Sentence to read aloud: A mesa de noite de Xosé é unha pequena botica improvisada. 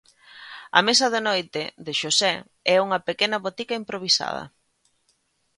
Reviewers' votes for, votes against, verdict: 2, 0, accepted